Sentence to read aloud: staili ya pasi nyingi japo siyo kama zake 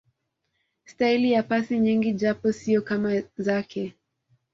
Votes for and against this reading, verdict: 2, 0, accepted